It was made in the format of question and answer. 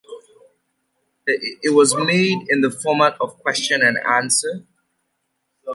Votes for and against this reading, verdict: 2, 1, accepted